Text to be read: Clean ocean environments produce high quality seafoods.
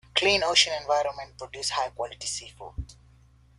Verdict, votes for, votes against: accepted, 2, 0